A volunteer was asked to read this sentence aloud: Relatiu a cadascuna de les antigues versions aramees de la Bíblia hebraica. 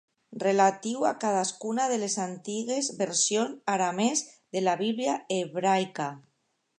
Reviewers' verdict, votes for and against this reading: rejected, 1, 2